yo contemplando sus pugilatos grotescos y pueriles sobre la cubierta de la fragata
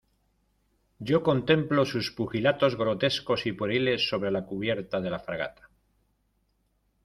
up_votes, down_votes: 0, 2